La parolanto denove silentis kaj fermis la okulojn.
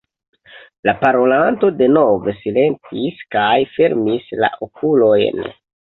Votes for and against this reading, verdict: 2, 0, accepted